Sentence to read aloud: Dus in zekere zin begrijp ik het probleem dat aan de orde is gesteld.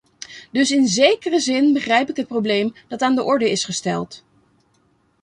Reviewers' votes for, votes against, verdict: 2, 1, accepted